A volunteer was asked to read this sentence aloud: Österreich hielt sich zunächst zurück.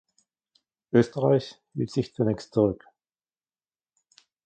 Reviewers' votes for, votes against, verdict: 1, 2, rejected